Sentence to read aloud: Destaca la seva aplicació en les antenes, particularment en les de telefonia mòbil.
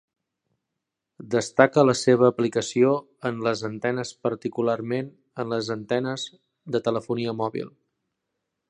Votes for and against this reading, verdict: 1, 2, rejected